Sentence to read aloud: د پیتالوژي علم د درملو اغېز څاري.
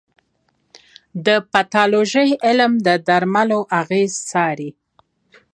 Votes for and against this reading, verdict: 2, 0, accepted